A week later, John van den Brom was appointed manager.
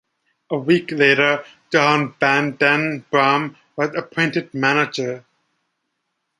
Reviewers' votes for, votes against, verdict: 2, 0, accepted